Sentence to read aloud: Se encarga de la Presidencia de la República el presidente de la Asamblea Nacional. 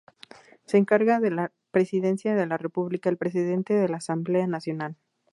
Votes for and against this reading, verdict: 2, 0, accepted